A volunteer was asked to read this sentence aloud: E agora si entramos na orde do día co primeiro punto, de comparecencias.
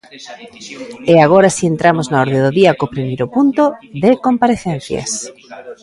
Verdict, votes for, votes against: rejected, 1, 2